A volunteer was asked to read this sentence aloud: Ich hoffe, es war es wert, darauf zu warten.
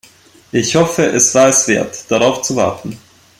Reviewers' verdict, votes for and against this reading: accepted, 2, 0